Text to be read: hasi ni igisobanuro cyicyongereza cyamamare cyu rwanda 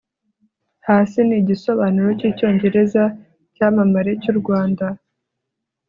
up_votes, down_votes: 3, 0